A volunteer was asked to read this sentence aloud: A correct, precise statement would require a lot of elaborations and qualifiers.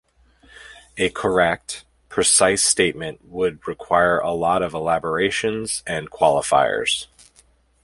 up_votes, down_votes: 2, 0